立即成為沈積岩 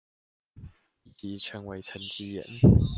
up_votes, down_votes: 0, 2